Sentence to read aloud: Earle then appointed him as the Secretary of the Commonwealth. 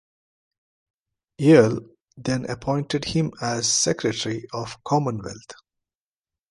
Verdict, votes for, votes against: rejected, 0, 2